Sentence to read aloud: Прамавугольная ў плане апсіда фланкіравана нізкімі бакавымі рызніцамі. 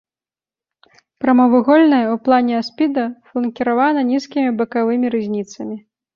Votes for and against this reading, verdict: 1, 2, rejected